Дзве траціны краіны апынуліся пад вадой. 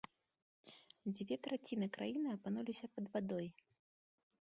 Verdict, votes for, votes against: accepted, 2, 0